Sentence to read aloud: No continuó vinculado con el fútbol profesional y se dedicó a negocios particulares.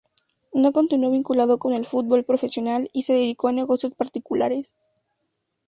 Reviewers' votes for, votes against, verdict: 2, 0, accepted